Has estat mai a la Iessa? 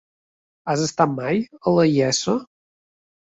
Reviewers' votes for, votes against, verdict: 0, 2, rejected